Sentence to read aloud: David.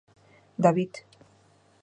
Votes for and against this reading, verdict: 2, 0, accepted